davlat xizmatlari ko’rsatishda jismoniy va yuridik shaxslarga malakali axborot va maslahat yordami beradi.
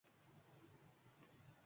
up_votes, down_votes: 1, 2